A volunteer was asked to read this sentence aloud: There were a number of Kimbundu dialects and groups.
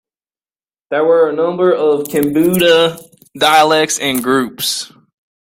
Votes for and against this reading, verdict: 1, 2, rejected